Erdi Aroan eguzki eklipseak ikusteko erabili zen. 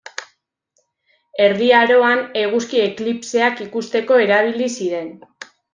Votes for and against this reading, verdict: 0, 2, rejected